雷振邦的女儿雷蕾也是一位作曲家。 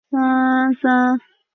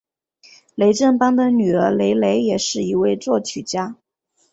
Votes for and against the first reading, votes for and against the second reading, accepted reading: 0, 2, 2, 0, second